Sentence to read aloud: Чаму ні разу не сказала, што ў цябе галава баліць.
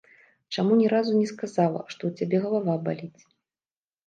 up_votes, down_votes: 2, 0